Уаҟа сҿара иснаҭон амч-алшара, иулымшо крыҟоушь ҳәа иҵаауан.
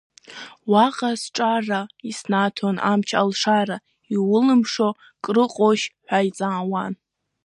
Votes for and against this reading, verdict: 2, 0, accepted